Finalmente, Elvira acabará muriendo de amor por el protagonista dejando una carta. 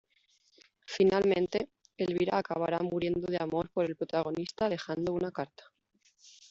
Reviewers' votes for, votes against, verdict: 1, 2, rejected